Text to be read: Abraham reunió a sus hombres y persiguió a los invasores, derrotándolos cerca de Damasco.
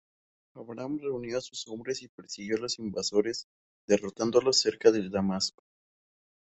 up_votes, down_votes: 2, 4